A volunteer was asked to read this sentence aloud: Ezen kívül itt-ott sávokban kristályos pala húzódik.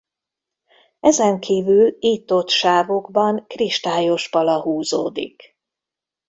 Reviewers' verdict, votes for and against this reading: accepted, 2, 0